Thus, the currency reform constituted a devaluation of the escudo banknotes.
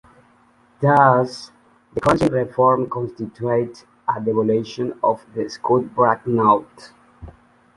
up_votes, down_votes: 1, 2